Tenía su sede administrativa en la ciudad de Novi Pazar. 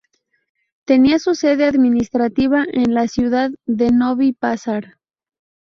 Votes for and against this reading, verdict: 4, 0, accepted